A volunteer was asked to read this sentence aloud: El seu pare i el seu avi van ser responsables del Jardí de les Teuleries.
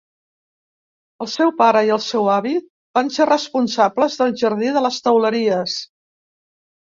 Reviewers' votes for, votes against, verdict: 2, 0, accepted